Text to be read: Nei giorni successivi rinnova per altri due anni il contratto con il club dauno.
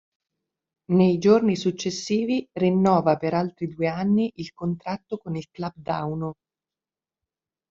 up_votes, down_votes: 2, 0